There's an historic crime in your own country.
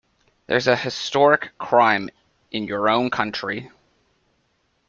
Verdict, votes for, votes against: rejected, 1, 2